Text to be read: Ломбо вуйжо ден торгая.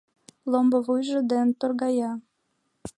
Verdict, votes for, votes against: accepted, 2, 0